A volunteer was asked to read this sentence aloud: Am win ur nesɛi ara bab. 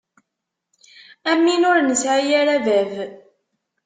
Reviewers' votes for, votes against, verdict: 2, 0, accepted